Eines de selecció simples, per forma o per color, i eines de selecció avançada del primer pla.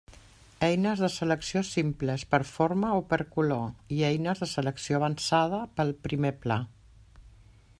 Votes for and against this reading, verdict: 1, 2, rejected